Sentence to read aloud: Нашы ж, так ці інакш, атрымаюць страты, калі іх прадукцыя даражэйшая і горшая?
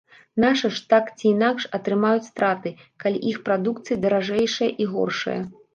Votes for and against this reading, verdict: 0, 2, rejected